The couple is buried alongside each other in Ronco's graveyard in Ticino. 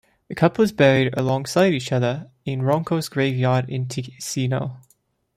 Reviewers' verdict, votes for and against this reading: accepted, 2, 1